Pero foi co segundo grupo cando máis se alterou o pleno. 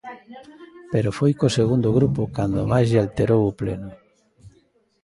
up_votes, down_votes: 0, 2